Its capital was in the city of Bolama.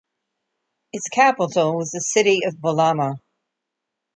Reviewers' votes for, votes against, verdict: 0, 2, rejected